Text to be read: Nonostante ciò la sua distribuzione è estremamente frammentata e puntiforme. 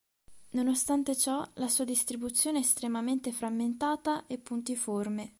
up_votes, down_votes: 2, 0